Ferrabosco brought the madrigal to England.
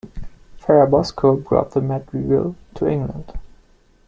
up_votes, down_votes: 2, 0